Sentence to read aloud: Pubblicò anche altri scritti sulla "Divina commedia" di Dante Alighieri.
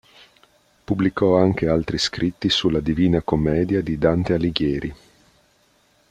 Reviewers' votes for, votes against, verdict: 2, 0, accepted